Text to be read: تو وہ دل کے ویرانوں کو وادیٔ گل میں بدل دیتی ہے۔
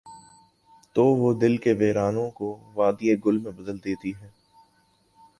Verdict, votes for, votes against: accepted, 2, 0